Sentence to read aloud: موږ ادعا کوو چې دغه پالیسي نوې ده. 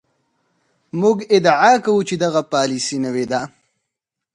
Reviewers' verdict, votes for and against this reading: accepted, 4, 0